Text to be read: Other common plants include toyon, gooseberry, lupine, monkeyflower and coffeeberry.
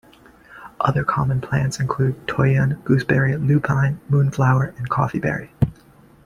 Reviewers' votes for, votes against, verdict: 2, 1, accepted